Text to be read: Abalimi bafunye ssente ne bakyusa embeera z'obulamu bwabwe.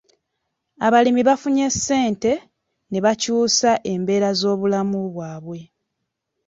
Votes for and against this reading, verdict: 3, 0, accepted